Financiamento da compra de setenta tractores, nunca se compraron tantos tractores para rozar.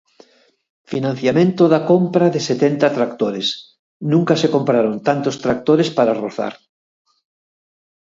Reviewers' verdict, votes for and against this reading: accepted, 6, 0